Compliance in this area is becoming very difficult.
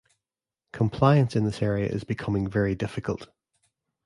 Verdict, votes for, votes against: accepted, 2, 0